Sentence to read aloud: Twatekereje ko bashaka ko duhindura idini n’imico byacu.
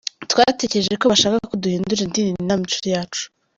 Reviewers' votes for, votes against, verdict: 1, 2, rejected